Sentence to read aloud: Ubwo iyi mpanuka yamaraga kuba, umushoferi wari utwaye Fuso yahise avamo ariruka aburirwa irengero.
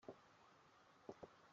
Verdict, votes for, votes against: rejected, 0, 2